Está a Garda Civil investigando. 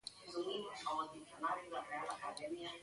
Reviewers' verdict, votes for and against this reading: rejected, 0, 2